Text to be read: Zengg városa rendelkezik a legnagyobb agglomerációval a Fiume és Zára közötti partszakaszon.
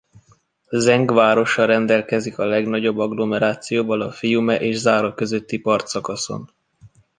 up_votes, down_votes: 2, 0